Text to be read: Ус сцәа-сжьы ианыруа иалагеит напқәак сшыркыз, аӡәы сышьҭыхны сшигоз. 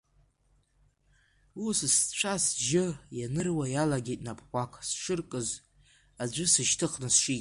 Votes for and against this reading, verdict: 1, 2, rejected